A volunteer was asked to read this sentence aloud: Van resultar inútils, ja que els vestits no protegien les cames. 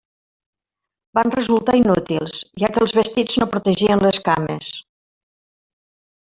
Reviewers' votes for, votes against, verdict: 0, 2, rejected